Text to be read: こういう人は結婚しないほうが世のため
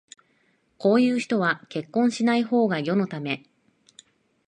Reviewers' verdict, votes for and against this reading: accepted, 2, 0